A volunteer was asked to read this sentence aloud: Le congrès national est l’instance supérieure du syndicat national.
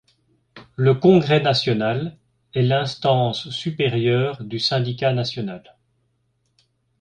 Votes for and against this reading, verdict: 2, 0, accepted